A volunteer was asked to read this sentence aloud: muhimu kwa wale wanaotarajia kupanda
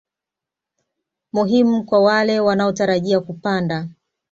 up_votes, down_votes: 2, 0